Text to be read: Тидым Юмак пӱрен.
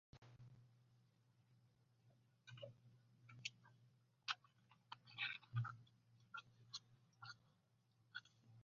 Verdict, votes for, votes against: rejected, 0, 2